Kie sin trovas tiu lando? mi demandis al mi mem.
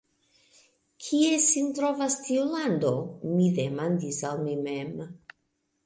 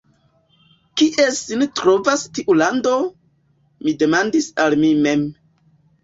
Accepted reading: first